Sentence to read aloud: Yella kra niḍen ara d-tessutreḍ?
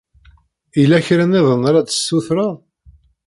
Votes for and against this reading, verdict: 0, 2, rejected